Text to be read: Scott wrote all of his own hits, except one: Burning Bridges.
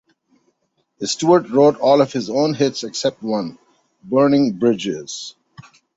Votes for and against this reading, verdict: 0, 2, rejected